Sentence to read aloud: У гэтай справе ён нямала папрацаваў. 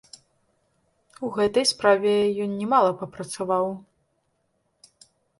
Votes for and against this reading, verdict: 2, 0, accepted